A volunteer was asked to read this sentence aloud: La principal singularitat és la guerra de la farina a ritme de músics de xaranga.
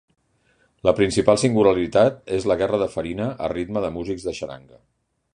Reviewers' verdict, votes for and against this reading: rejected, 2, 3